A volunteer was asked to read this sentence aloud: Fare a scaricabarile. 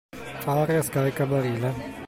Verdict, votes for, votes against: accepted, 2, 0